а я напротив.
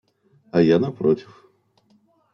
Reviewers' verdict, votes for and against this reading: accepted, 2, 0